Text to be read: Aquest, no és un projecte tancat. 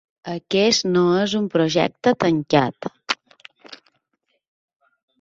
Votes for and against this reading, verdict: 2, 0, accepted